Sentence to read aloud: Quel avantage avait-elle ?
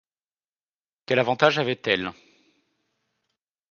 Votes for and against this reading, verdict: 2, 0, accepted